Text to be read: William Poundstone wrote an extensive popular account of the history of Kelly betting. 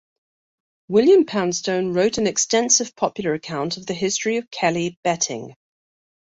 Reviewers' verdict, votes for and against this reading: accepted, 2, 0